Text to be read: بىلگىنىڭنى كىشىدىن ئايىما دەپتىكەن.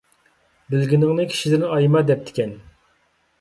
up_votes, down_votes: 2, 0